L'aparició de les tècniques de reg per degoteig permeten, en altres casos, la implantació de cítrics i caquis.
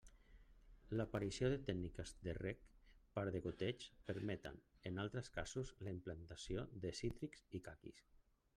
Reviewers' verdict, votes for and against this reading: rejected, 0, 2